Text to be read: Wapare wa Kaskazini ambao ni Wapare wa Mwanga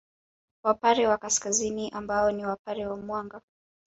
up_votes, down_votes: 2, 1